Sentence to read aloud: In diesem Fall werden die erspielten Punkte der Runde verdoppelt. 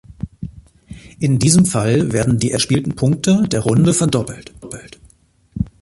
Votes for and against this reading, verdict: 1, 2, rejected